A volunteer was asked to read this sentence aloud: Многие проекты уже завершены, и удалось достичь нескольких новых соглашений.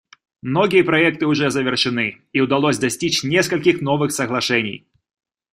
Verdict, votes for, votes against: accepted, 2, 0